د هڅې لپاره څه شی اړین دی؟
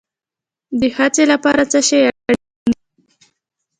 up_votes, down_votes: 2, 0